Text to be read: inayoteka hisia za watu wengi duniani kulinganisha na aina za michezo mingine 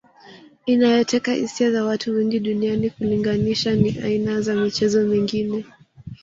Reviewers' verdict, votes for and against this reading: rejected, 1, 2